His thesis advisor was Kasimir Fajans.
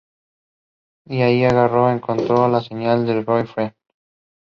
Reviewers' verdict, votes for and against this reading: rejected, 0, 2